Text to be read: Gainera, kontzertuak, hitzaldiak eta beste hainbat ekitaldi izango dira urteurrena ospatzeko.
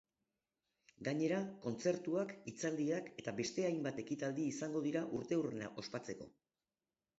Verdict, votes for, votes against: accepted, 2, 0